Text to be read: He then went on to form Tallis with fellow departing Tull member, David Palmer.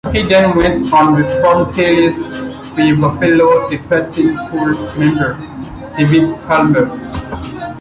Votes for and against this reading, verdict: 0, 2, rejected